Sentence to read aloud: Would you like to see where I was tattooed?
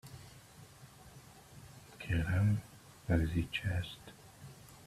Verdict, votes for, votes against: rejected, 0, 3